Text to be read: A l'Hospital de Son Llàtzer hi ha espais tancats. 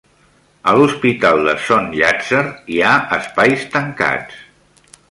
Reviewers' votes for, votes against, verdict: 2, 0, accepted